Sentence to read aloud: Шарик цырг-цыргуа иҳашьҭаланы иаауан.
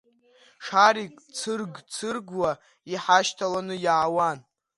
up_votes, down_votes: 2, 1